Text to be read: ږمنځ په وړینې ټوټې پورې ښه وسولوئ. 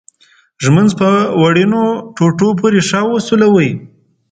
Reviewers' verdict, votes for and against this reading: rejected, 0, 2